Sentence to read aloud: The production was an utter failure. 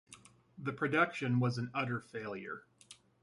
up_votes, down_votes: 2, 0